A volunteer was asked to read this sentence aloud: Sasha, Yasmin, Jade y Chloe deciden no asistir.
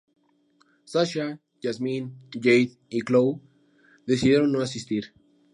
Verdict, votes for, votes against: accepted, 2, 0